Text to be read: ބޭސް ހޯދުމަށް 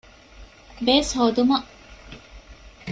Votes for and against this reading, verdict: 2, 0, accepted